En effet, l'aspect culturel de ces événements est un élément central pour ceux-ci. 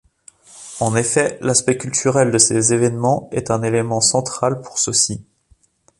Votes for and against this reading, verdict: 2, 0, accepted